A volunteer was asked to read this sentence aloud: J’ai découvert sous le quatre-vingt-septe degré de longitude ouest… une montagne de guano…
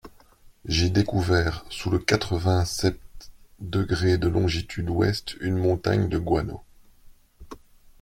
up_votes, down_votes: 2, 0